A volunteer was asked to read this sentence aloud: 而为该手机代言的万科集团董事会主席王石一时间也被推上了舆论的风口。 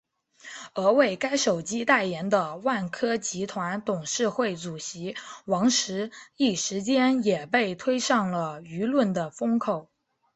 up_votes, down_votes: 7, 0